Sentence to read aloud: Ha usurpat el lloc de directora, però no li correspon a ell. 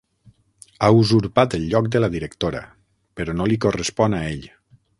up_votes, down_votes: 3, 6